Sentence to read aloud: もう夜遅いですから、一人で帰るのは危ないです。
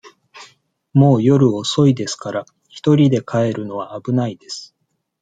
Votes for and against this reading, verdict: 2, 0, accepted